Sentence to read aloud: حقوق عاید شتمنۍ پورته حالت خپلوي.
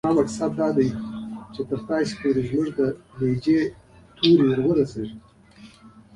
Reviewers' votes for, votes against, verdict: 1, 2, rejected